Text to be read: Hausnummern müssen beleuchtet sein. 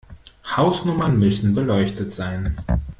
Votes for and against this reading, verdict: 2, 0, accepted